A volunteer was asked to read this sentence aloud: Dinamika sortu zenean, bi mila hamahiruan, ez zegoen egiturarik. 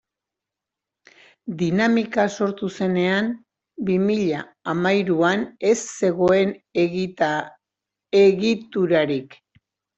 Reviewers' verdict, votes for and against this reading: rejected, 0, 2